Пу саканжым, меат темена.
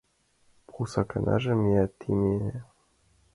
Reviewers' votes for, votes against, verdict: 1, 2, rejected